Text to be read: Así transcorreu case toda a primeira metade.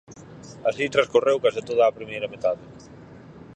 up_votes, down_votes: 4, 0